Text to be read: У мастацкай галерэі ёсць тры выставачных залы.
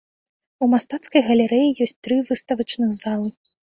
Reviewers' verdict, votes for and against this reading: accepted, 2, 0